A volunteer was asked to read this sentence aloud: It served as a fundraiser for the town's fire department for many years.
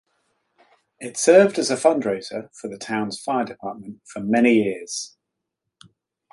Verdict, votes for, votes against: rejected, 1, 2